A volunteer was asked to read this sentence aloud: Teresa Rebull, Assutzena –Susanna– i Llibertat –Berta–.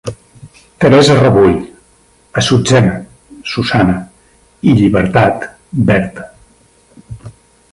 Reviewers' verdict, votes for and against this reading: rejected, 1, 2